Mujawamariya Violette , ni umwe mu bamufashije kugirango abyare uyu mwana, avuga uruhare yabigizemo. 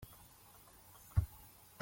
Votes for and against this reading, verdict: 0, 3, rejected